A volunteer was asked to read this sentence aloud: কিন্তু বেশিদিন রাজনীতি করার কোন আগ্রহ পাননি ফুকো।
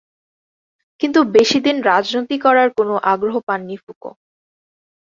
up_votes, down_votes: 10, 0